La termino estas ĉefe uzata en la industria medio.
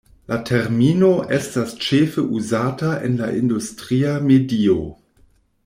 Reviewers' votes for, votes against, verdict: 2, 0, accepted